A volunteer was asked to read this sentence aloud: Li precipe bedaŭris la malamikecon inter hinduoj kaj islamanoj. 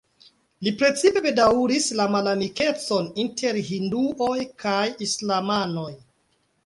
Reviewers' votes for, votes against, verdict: 3, 1, accepted